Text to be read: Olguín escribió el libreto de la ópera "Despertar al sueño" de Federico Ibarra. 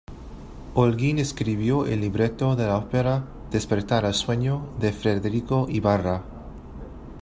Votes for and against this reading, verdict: 2, 1, accepted